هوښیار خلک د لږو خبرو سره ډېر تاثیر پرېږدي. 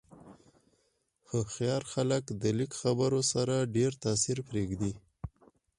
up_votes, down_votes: 0, 4